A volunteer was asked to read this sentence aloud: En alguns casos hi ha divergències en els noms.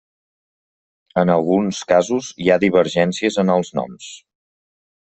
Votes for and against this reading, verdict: 3, 0, accepted